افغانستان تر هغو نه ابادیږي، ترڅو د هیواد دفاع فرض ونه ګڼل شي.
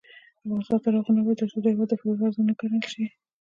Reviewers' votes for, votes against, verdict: 1, 2, rejected